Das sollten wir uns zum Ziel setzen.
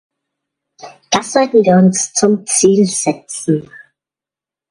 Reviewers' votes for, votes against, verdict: 1, 2, rejected